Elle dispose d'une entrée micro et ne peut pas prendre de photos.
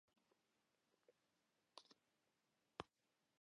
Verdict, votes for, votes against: rejected, 0, 2